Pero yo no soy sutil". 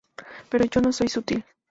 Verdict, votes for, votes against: rejected, 0, 2